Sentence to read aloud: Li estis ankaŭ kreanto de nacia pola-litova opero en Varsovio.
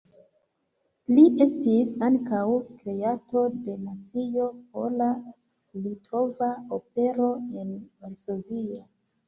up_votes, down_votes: 0, 2